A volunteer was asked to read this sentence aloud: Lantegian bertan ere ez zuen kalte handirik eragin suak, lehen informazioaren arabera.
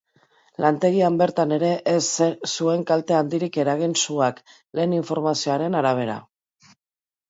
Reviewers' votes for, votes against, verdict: 0, 2, rejected